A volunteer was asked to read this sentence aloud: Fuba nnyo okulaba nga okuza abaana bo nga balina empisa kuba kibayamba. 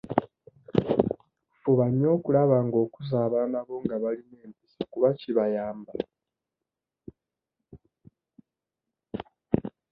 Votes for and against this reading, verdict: 1, 2, rejected